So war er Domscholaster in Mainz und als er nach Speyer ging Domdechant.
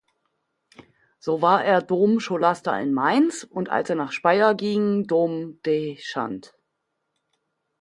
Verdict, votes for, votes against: rejected, 1, 2